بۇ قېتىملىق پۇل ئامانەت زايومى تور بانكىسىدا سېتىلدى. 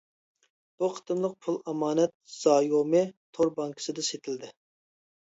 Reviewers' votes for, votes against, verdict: 2, 0, accepted